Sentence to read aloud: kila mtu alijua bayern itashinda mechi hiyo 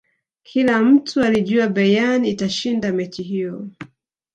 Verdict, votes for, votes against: accepted, 2, 0